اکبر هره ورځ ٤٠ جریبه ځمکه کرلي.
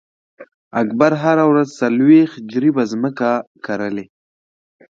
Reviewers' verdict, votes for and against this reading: rejected, 0, 2